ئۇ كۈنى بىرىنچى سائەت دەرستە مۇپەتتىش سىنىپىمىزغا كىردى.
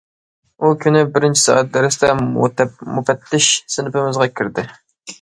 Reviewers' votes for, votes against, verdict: 0, 2, rejected